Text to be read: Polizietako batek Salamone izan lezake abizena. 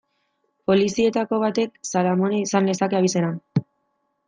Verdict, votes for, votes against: accepted, 2, 0